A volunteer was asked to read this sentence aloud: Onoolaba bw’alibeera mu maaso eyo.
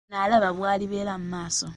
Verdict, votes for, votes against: rejected, 0, 2